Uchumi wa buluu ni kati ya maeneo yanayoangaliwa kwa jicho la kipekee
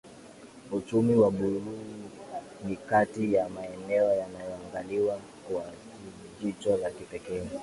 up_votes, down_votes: 2, 0